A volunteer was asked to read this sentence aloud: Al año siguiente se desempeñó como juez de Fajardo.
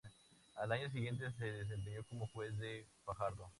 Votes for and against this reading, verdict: 2, 0, accepted